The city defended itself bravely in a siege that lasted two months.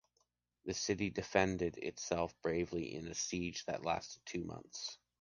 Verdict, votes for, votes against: accepted, 2, 0